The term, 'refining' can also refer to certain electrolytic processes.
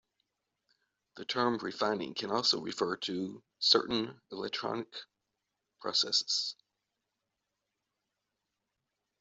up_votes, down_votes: 1, 2